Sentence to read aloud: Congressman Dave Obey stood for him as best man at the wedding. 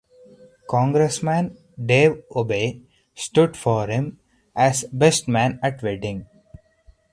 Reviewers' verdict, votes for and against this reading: accepted, 4, 0